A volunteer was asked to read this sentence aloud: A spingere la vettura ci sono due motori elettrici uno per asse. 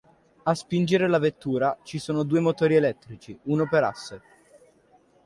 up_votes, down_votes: 2, 0